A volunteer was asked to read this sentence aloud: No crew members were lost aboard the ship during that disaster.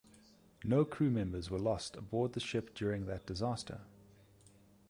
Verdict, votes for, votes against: accepted, 2, 0